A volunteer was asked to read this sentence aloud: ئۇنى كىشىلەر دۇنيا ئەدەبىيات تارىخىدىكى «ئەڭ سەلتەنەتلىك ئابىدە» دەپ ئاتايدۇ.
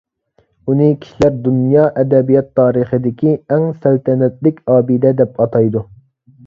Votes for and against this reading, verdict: 2, 0, accepted